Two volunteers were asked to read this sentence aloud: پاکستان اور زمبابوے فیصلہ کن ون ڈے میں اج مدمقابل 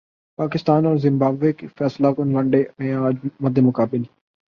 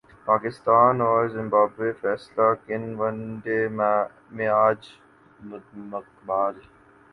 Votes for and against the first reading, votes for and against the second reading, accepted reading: 8, 0, 0, 2, first